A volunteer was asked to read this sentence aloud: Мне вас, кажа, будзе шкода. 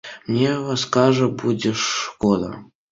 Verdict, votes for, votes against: accepted, 2, 0